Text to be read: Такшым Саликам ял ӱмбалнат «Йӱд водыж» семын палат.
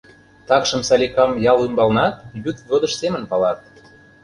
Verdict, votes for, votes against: accepted, 2, 0